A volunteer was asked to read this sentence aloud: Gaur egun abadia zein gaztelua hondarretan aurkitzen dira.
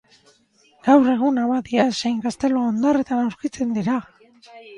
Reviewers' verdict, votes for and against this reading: rejected, 2, 2